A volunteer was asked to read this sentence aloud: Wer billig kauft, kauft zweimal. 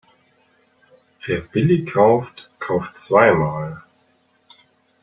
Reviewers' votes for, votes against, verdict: 1, 2, rejected